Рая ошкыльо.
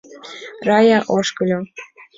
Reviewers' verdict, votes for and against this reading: accepted, 2, 0